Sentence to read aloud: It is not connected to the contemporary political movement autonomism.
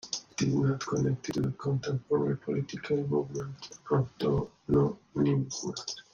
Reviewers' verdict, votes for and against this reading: rejected, 0, 2